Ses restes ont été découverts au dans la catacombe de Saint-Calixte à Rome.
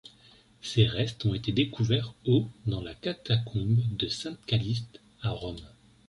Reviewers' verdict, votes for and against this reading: rejected, 2, 3